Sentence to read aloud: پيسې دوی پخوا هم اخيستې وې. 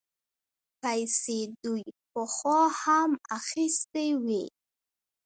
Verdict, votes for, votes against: rejected, 1, 2